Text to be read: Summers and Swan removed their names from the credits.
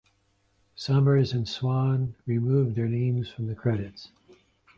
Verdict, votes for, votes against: accepted, 2, 0